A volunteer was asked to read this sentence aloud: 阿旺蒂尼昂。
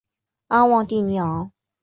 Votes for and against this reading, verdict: 2, 0, accepted